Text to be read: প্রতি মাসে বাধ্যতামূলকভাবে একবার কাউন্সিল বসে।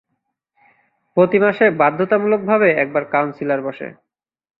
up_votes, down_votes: 2, 5